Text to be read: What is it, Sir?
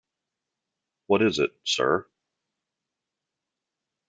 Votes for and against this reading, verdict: 2, 0, accepted